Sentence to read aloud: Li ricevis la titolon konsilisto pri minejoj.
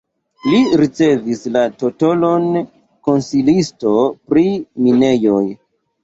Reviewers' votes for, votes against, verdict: 1, 2, rejected